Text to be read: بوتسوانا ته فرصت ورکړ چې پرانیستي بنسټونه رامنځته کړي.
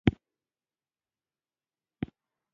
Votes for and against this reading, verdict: 0, 2, rejected